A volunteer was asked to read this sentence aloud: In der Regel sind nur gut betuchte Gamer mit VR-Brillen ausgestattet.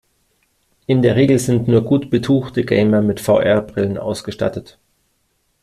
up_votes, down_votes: 2, 0